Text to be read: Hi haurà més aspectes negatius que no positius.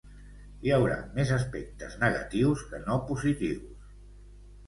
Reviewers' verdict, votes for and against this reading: accepted, 2, 0